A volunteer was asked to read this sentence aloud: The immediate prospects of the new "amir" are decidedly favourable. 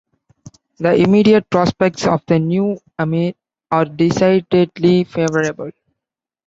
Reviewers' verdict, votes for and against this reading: accepted, 2, 1